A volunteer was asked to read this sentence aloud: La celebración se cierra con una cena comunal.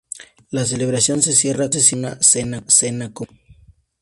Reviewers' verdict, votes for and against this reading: rejected, 0, 4